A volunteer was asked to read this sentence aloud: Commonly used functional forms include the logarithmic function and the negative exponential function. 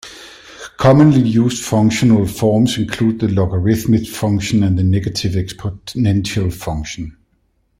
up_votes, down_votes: 1, 2